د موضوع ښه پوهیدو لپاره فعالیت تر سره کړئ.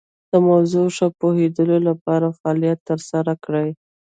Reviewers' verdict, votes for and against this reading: accepted, 2, 0